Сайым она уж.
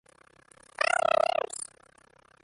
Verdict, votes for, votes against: rejected, 0, 2